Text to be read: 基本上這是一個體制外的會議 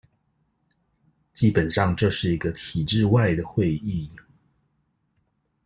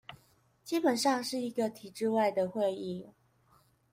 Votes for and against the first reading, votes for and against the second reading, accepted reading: 2, 0, 0, 2, first